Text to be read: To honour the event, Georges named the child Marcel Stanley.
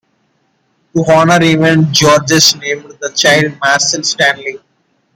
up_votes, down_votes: 2, 1